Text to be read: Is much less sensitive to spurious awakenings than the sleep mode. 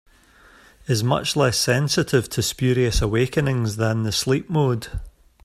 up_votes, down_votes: 3, 0